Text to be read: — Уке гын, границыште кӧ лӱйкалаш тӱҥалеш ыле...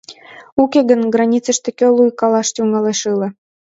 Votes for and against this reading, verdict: 0, 2, rejected